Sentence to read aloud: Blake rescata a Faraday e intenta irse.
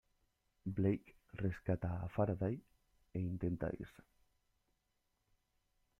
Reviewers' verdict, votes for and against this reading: accepted, 2, 1